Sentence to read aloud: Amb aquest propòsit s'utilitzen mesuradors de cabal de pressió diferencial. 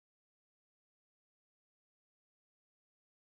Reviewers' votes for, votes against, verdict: 1, 2, rejected